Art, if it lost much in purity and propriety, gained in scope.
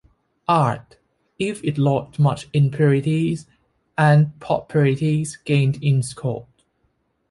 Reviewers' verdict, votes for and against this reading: rejected, 1, 2